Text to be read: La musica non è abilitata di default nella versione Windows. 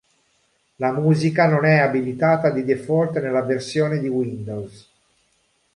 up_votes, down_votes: 0, 2